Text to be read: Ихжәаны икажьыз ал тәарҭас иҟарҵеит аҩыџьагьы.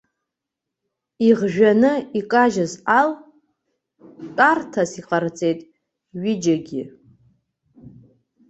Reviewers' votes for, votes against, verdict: 2, 0, accepted